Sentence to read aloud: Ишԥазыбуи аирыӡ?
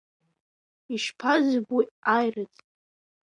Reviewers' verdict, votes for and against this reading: accepted, 2, 0